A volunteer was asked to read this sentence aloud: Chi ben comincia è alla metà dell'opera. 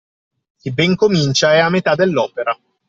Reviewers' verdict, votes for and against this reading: accepted, 2, 0